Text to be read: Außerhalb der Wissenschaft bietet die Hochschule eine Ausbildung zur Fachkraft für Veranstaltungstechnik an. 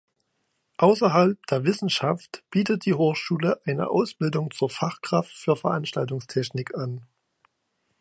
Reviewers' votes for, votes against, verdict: 2, 1, accepted